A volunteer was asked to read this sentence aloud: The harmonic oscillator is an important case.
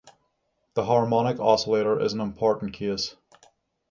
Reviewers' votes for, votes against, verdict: 6, 0, accepted